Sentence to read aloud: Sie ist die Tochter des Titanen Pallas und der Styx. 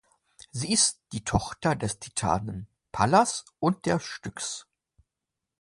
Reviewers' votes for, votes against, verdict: 2, 1, accepted